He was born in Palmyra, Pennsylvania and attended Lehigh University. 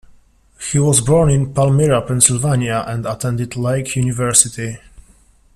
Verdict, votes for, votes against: rejected, 0, 2